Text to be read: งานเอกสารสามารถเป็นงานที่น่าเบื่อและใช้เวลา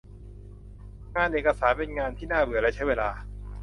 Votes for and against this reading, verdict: 0, 2, rejected